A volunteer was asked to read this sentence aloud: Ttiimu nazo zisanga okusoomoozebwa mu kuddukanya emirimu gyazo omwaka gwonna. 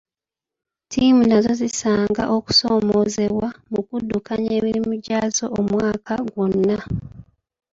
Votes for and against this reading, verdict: 0, 2, rejected